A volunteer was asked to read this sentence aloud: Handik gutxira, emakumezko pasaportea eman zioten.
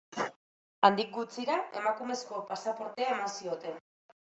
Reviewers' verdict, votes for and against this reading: accepted, 2, 0